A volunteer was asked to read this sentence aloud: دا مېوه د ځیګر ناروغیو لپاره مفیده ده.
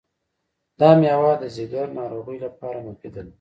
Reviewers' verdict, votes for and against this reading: accepted, 2, 1